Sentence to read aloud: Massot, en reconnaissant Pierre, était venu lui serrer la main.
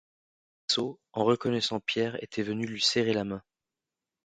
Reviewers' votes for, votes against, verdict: 0, 3, rejected